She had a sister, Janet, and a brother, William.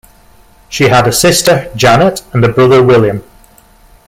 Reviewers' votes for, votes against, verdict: 2, 0, accepted